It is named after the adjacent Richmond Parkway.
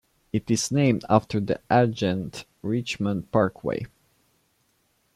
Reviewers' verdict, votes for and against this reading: rejected, 0, 2